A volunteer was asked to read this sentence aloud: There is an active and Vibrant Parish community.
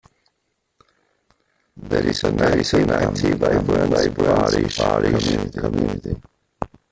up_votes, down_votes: 0, 2